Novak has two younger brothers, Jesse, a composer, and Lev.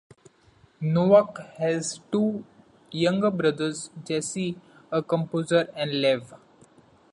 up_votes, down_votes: 2, 1